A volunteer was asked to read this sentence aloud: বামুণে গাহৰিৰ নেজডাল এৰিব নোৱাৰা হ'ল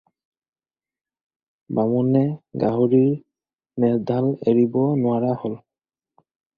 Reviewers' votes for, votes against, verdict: 4, 0, accepted